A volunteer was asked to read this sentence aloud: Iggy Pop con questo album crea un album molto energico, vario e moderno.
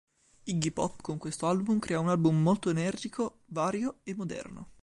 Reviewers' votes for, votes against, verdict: 4, 0, accepted